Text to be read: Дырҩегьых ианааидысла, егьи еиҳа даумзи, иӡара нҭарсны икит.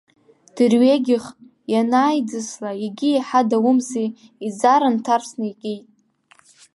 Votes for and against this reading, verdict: 2, 0, accepted